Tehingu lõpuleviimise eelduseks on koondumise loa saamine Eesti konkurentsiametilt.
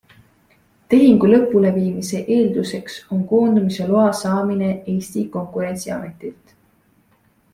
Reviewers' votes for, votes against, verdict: 2, 0, accepted